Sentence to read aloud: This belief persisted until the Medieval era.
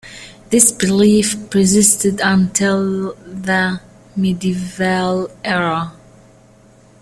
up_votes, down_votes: 0, 2